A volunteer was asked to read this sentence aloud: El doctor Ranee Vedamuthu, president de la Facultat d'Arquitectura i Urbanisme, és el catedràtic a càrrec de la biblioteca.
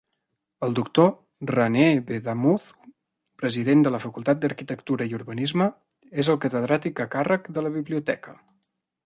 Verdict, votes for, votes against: accepted, 2, 0